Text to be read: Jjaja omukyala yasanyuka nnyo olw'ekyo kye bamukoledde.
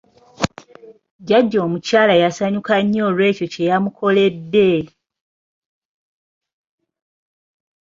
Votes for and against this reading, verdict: 1, 2, rejected